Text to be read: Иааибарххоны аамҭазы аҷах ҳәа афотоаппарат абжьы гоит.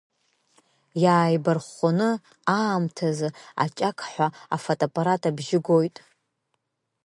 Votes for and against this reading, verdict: 1, 2, rejected